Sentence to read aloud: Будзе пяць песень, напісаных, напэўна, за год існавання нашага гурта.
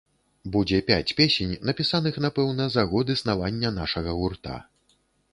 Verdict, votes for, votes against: accepted, 2, 0